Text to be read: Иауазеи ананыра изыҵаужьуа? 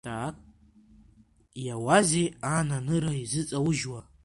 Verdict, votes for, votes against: rejected, 1, 2